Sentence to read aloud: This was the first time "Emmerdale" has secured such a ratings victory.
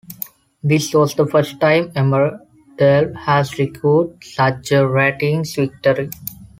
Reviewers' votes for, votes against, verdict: 2, 1, accepted